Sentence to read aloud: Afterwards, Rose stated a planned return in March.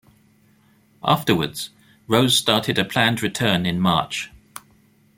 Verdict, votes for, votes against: rejected, 1, 2